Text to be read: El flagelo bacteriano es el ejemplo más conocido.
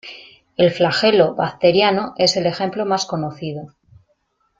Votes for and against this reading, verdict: 2, 0, accepted